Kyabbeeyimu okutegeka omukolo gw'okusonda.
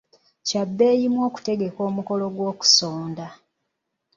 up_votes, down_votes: 2, 0